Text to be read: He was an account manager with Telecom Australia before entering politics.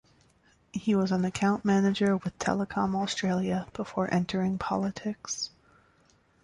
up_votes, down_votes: 2, 0